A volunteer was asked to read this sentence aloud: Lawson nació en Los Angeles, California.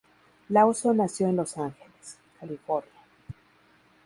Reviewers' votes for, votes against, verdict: 0, 2, rejected